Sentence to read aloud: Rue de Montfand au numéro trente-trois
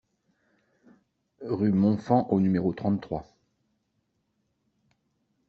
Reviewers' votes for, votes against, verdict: 1, 2, rejected